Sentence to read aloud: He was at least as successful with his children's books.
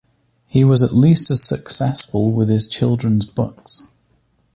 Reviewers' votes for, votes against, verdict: 2, 0, accepted